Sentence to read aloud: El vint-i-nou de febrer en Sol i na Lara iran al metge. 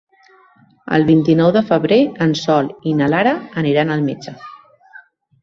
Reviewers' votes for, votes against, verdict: 1, 2, rejected